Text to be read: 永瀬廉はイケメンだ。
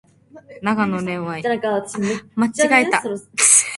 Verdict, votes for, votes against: rejected, 0, 2